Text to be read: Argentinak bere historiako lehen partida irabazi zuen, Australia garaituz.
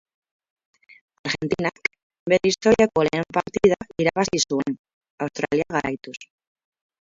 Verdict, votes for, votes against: rejected, 0, 2